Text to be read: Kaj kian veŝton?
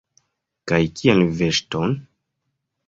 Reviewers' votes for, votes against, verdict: 1, 2, rejected